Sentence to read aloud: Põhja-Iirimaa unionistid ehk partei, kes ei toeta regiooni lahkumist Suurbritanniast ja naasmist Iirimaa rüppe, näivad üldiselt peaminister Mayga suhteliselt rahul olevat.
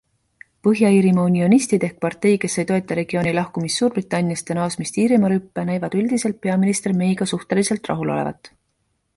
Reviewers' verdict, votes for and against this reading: accepted, 2, 0